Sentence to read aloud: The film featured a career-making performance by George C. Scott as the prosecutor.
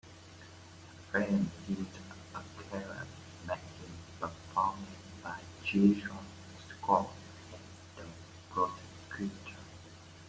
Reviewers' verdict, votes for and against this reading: rejected, 0, 2